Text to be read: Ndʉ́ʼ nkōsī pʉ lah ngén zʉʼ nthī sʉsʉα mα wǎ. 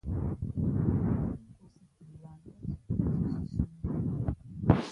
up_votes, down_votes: 1, 2